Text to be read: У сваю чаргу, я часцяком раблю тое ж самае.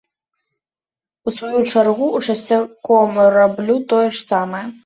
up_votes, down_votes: 1, 2